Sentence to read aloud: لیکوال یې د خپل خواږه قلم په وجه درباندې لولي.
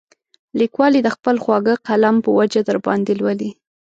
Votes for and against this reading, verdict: 2, 0, accepted